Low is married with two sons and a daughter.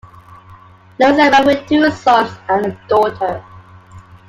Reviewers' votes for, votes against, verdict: 2, 0, accepted